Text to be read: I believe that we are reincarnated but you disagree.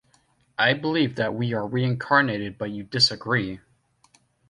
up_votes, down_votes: 2, 0